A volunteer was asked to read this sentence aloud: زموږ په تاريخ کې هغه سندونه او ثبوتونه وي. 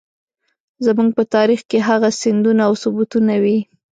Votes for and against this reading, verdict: 1, 2, rejected